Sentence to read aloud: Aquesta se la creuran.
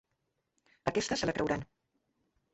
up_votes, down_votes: 2, 0